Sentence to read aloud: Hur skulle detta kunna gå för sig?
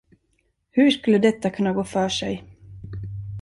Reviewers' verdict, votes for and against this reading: accepted, 2, 0